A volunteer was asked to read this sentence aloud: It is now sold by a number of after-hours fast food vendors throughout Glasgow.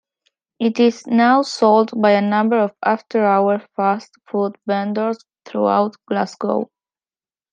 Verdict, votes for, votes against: rejected, 0, 2